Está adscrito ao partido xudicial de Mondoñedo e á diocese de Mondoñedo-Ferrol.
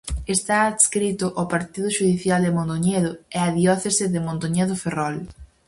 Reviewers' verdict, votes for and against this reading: rejected, 0, 4